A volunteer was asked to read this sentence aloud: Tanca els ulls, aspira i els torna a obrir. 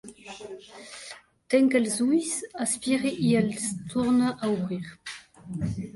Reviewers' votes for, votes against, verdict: 1, 2, rejected